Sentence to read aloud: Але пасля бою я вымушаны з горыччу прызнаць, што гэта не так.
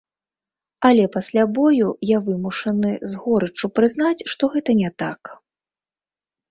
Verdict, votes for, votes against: accepted, 2, 0